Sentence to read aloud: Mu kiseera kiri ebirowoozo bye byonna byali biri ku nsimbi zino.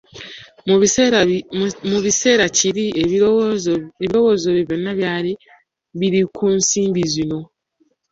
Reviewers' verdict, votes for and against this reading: rejected, 0, 2